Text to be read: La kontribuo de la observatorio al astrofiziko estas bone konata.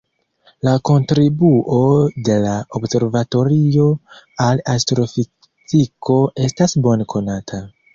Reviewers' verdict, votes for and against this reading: accepted, 2, 1